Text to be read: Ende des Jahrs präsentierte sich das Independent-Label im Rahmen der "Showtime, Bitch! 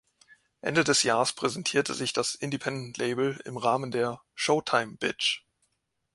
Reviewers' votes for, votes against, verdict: 2, 0, accepted